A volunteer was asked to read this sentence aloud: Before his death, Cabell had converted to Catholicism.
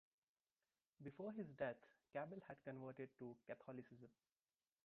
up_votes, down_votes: 1, 2